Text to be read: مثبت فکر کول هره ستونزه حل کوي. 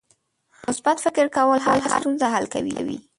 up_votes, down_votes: 2, 1